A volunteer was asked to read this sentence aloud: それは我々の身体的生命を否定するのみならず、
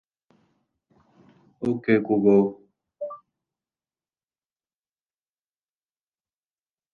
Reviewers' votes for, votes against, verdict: 1, 2, rejected